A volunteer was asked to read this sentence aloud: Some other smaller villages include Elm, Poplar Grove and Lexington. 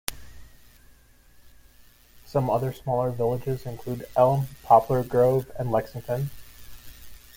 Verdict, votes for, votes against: accepted, 2, 0